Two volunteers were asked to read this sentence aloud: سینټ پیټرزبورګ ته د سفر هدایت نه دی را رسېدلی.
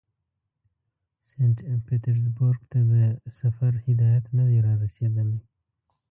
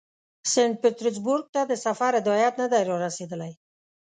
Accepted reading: second